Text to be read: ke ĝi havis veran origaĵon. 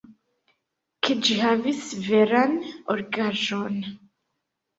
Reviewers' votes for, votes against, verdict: 1, 2, rejected